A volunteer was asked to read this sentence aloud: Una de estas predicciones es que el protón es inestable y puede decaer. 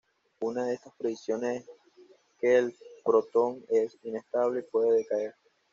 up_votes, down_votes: 0, 2